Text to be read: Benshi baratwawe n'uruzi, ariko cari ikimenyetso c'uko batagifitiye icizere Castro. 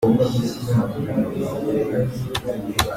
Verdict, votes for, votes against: rejected, 0, 3